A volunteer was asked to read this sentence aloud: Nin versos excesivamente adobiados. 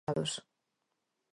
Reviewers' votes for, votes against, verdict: 0, 4, rejected